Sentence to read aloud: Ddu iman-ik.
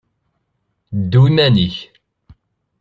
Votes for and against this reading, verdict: 1, 2, rejected